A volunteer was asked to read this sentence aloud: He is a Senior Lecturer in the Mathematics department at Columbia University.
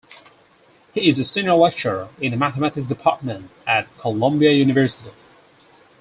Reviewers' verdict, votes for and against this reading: accepted, 4, 0